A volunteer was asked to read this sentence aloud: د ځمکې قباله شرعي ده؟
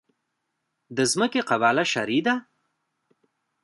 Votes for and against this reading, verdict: 2, 0, accepted